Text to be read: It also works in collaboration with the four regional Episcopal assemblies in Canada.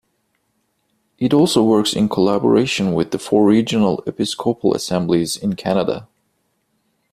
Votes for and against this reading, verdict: 2, 1, accepted